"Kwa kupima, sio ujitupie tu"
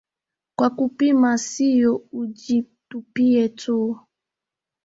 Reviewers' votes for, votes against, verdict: 2, 0, accepted